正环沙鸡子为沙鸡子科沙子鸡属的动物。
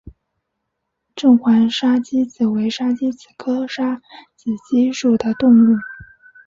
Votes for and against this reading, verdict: 3, 0, accepted